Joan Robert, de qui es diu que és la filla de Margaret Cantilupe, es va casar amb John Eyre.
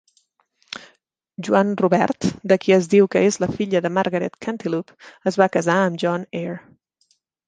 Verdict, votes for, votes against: rejected, 0, 2